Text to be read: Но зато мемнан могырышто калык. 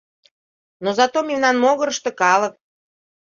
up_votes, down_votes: 2, 0